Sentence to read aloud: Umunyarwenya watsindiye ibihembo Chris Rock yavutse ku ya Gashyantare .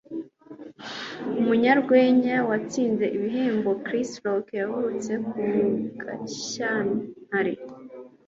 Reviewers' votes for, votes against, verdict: 2, 0, accepted